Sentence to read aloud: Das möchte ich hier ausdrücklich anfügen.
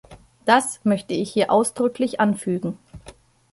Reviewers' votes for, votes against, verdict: 2, 0, accepted